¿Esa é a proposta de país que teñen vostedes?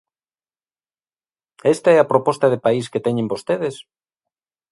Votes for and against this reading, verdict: 1, 2, rejected